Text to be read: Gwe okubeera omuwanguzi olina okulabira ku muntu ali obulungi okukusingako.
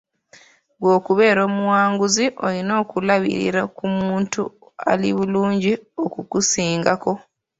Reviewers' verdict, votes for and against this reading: accepted, 2, 1